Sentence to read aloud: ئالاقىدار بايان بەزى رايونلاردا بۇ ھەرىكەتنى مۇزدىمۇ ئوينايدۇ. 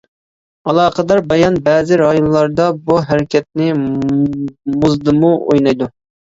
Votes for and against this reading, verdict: 2, 0, accepted